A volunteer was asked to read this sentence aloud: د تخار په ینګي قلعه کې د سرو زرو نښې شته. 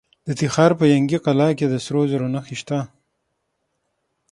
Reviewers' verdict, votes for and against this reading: rejected, 3, 6